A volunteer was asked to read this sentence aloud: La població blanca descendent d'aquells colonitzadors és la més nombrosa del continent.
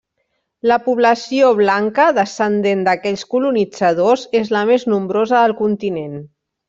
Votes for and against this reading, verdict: 1, 2, rejected